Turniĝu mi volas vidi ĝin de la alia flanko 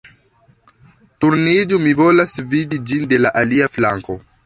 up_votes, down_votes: 2, 0